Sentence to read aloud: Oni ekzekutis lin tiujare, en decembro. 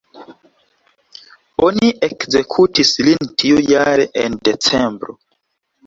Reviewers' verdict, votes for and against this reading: accepted, 2, 1